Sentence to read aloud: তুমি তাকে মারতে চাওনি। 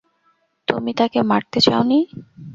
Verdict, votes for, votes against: accepted, 2, 0